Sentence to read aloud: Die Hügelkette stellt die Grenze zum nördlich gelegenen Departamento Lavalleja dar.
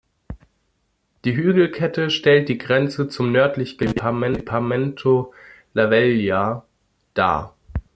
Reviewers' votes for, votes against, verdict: 0, 2, rejected